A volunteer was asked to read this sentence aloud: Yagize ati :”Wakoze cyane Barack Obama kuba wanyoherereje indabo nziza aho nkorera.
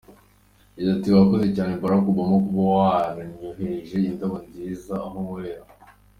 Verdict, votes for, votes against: accepted, 3, 2